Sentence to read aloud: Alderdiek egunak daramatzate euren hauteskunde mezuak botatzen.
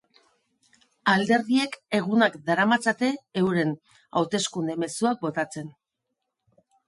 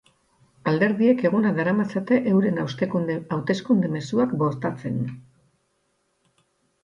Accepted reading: first